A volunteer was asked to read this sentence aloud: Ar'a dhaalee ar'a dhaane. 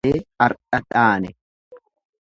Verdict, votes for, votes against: rejected, 1, 2